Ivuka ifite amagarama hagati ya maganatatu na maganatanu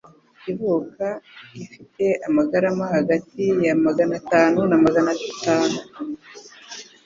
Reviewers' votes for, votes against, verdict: 3, 0, accepted